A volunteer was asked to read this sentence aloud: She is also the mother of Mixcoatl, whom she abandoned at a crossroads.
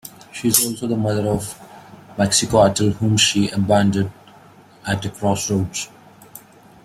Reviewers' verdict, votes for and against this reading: accepted, 2, 1